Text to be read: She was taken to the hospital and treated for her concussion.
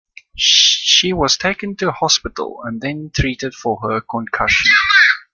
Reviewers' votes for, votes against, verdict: 1, 2, rejected